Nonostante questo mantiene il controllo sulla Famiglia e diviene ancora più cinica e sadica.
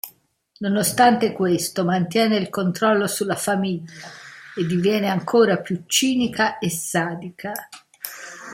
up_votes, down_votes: 2, 0